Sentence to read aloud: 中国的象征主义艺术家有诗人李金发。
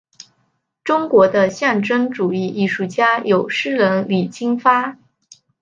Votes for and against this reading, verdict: 6, 0, accepted